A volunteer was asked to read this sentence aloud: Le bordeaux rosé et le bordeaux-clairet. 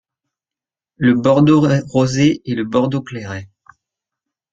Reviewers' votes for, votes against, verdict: 2, 0, accepted